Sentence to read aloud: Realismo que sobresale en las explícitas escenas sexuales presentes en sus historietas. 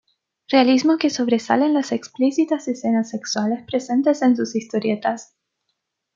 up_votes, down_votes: 2, 1